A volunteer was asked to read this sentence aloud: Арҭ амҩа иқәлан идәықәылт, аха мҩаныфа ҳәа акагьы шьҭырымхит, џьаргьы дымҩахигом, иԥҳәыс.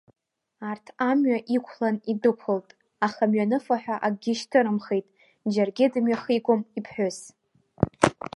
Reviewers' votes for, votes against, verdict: 1, 2, rejected